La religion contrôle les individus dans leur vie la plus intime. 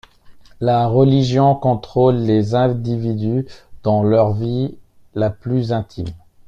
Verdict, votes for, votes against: accepted, 2, 0